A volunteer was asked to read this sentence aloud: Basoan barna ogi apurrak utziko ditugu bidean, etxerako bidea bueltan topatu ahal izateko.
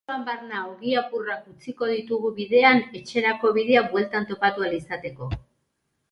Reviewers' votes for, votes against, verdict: 0, 2, rejected